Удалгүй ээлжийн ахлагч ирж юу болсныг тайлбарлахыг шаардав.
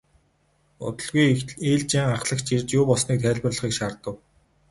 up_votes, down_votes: 2, 2